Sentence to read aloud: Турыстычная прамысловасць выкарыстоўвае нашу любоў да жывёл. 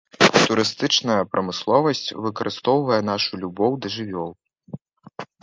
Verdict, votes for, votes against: rejected, 0, 2